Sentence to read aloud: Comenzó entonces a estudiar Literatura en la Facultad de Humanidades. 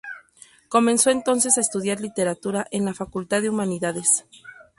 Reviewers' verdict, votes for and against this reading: accepted, 8, 0